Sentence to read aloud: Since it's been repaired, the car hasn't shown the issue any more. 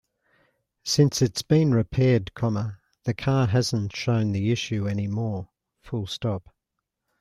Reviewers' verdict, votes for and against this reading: rejected, 1, 2